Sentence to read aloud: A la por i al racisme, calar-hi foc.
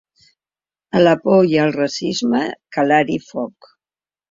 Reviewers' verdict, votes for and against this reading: accepted, 2, 0